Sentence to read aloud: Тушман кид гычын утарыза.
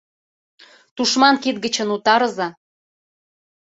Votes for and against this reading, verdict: 2, 0, accepted